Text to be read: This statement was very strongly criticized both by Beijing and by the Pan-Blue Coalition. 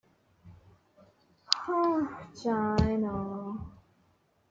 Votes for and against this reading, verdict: 0, 2, rejected